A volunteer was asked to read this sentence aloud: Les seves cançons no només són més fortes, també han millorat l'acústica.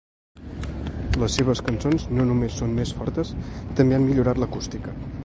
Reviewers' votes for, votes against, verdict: 2, 0, accepted